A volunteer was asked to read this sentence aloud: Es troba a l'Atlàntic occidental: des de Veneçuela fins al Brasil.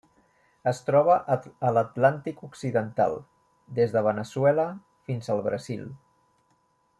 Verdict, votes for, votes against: rejected, 0, 2